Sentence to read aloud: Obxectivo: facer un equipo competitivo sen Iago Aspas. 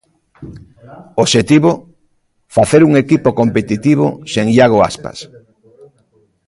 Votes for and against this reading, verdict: 0, 2, rejected